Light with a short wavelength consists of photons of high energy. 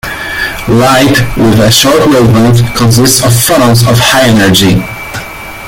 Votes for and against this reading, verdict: 2, 1, accepted